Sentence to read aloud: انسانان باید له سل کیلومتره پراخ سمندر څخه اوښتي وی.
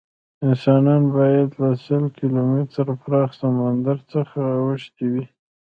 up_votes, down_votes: 0, 2